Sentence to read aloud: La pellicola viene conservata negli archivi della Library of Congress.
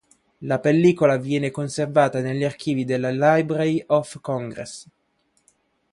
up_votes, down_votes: 2, 0